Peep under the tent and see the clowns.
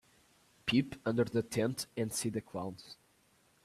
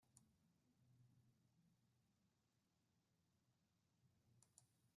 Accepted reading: first